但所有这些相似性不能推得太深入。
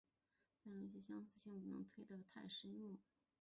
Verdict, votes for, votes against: rejected, 0, 2